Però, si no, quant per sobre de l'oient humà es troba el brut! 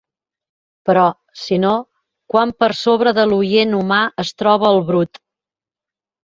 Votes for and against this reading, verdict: 2, 1, accepted